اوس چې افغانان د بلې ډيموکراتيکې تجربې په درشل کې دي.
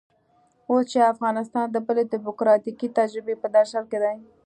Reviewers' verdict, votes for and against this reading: accepted, 2, 0